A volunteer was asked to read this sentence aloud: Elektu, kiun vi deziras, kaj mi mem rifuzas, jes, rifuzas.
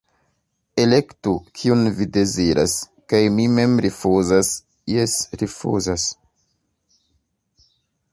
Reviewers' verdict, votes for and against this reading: accepted, 2, 0